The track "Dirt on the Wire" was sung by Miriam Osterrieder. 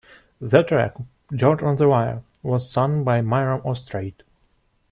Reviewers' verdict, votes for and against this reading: rejected, 0, 2